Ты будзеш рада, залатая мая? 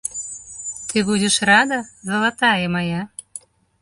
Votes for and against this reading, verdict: 1, 2, rejected